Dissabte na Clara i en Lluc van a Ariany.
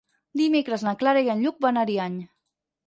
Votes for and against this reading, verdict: 2, 4, rejected